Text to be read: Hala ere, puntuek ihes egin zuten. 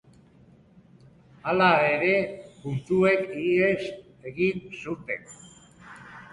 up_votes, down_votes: 3, 0